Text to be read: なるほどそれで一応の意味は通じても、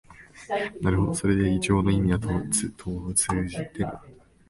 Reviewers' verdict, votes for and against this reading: rejected, 1, 2